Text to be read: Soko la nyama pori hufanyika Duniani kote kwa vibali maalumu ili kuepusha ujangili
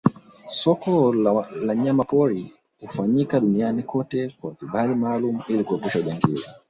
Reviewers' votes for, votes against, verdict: 0, 2, rejected